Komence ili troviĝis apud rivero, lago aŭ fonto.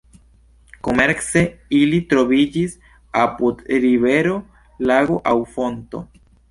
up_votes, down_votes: 1, 2